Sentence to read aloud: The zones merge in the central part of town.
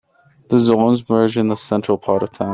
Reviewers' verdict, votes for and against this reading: rejected, 1, 2